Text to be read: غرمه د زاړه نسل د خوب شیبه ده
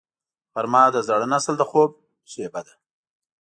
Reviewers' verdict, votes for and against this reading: accepted, 2, 0